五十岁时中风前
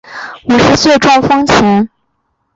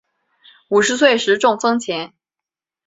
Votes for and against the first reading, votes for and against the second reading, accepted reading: 2, 0, 1, 2, first